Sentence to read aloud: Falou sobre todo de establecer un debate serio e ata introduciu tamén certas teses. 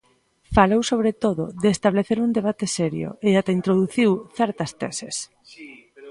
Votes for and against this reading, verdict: 0, 2, rejected